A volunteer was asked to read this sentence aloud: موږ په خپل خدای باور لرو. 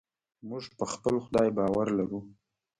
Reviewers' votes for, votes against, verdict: 2, 1, accepted